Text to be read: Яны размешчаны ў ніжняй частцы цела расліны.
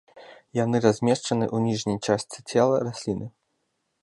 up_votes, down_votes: 2, 0